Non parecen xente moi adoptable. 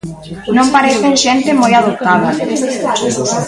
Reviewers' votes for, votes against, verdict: 0, 2, rejected